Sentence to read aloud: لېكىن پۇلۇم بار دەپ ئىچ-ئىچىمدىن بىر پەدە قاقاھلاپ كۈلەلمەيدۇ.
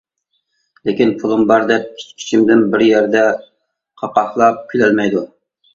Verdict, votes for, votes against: rejected, 1, 2